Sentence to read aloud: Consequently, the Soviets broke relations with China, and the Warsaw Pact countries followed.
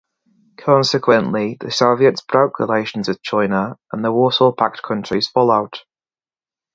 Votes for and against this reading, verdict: 2, 0, accepted